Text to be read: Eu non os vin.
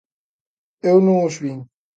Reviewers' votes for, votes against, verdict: 2, 0, accepted